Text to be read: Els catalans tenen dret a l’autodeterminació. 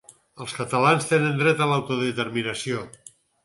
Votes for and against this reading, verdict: 4, 0, accepted